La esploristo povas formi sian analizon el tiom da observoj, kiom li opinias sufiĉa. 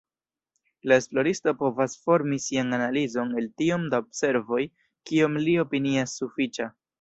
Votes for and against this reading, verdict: 0, 2, rejected